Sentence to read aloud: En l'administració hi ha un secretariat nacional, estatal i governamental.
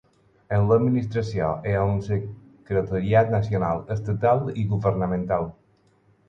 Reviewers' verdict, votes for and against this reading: rejected, 0, 4